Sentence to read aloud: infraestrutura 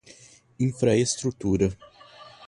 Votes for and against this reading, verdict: 2, 0, accepted